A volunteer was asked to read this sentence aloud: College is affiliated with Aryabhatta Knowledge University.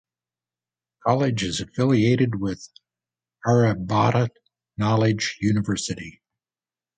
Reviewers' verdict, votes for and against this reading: rejected, 0, 2